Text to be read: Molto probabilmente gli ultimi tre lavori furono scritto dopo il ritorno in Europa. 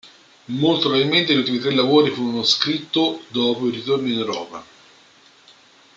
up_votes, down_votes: 2, 0